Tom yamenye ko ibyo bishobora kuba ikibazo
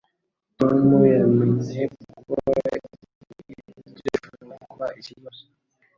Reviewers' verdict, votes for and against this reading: rejected, 1, 2